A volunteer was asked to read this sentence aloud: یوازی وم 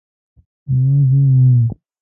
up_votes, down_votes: 0, 3